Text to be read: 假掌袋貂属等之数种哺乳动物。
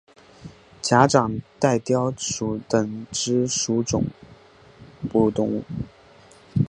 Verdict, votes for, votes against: accepted, 3, 0